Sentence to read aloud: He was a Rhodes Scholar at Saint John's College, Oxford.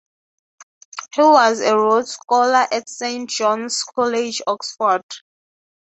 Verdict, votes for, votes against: accepted, 3, 0